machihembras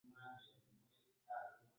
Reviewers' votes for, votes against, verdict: 0, 2, rejected